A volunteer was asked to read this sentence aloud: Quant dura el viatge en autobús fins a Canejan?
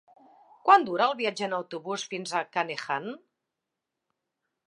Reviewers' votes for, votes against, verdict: 0, 2, rejected